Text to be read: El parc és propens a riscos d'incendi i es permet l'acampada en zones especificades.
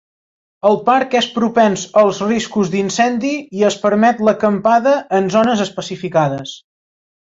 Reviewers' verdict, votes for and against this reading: rejected, 1, 2